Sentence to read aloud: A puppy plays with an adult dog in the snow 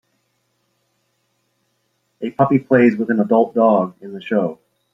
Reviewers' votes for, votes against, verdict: 1, 2, rejected